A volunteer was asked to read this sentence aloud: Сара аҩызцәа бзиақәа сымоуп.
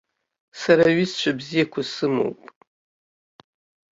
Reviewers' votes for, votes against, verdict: 3, 0, accepted